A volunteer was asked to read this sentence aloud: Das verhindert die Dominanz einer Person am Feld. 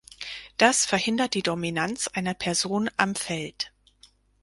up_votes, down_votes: 4, 0